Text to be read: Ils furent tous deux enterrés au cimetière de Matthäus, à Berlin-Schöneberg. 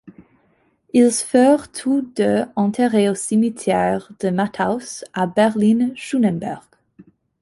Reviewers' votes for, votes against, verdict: 1, 2, rejected